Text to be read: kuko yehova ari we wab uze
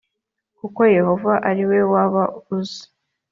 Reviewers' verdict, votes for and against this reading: accepted, 2, 0